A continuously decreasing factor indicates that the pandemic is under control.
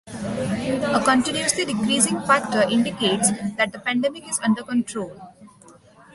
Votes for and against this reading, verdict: 2, 0, accepted